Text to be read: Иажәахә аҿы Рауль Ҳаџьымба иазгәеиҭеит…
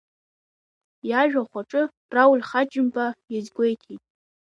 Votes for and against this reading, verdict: 2, 1, accepted